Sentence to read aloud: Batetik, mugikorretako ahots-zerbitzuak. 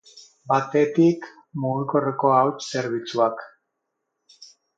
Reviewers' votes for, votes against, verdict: 0, 6, rejected